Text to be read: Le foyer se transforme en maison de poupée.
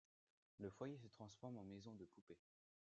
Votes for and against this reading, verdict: 2, 0, accepted